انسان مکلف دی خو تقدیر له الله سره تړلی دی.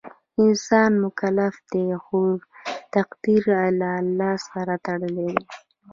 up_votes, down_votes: 0, 2